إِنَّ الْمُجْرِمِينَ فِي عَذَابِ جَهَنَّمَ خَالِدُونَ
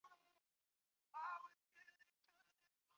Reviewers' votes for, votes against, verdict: 0, 2, rejected